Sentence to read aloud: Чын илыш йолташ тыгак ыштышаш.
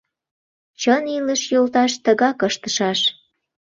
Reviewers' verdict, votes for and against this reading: accepted, 2, 0